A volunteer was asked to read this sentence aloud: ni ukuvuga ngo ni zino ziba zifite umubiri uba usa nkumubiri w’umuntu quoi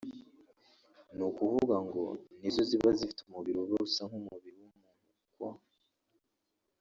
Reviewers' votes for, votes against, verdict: 0, 2, rejected